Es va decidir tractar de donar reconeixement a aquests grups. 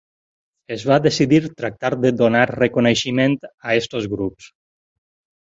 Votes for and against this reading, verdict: 0, 4, rejected